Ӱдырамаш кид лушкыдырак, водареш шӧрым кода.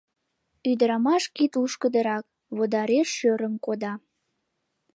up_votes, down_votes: 2, 1